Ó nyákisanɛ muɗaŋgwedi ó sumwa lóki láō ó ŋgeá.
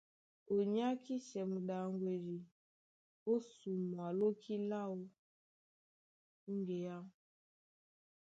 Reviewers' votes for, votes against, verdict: 1, 2, rejected